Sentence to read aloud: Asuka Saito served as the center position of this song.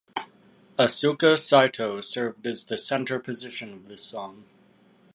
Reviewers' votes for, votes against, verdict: 2, 0, accepted